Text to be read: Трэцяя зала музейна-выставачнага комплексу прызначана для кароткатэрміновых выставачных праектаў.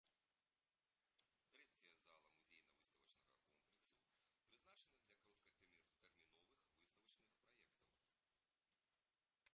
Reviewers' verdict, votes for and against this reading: rejected, 0, 2